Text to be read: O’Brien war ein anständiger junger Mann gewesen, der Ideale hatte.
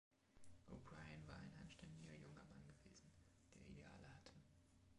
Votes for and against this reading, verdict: 0, 2, rejected